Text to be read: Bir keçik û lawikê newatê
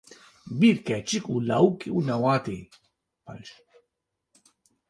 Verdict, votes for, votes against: rejected, 1, 2